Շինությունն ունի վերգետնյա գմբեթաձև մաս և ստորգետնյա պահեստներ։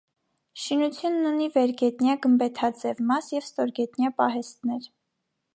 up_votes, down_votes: 0, 2